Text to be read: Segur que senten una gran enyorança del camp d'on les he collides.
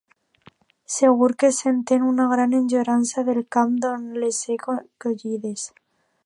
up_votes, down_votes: 0, 2